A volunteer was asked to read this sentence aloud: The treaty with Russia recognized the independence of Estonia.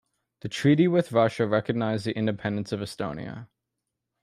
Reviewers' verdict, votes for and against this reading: accepted, 2, 0